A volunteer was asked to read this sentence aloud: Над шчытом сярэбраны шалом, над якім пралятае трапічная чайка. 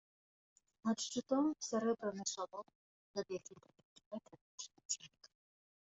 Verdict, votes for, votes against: rejected, 0, 2